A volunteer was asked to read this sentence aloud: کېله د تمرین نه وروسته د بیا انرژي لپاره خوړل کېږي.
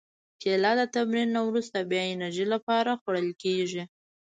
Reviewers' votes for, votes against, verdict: 1, 2, rejected